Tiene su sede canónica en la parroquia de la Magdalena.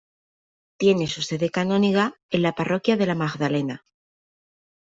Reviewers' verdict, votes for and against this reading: rejected, 0, 2